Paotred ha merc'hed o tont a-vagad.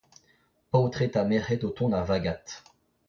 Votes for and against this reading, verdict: 0, 2, rejected